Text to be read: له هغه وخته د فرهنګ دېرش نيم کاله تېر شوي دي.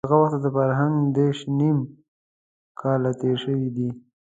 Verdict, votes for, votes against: accepted, 2, 0